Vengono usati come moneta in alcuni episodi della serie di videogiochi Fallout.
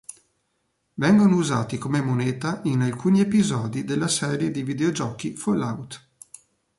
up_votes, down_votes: 2, 0